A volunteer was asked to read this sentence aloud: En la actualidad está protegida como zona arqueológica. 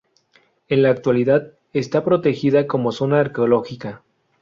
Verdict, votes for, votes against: accepted, 2, 0